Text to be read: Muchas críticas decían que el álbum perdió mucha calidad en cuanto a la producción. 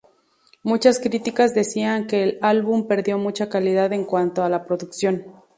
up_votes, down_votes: 2, 0